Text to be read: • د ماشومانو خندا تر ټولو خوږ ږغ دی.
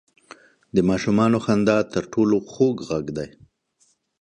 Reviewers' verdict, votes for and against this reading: accepted, 2, 0